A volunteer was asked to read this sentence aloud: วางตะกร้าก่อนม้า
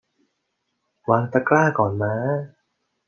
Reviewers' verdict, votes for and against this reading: accepted, 2, 0